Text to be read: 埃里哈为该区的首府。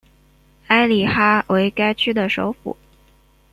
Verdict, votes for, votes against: rejected, 1, 2